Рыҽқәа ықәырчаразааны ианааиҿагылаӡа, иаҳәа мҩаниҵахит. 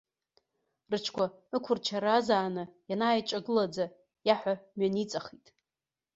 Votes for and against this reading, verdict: 0, 2, rejected